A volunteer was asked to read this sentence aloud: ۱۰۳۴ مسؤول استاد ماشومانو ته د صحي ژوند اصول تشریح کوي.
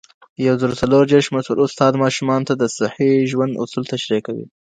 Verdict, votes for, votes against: rejected, 0, 2